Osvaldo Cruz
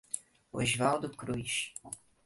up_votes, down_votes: 2, 0